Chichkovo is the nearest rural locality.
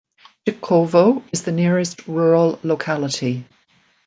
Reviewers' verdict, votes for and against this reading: rejected, 1, 2